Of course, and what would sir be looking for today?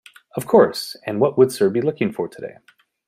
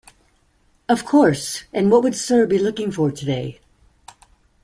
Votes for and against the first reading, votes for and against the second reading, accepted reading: 2, 1, 1, 2, first